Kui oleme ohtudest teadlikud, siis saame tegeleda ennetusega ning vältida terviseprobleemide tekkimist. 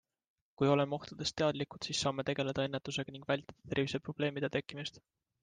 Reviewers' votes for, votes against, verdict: 2, 0, accepted